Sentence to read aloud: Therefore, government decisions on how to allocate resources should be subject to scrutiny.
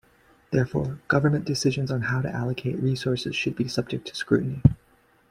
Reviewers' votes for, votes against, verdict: 2, 0, accepted